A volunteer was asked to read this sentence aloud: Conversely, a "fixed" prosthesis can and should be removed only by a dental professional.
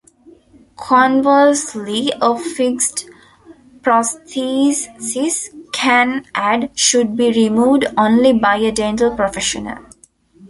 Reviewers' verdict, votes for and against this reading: rejected, 1, 2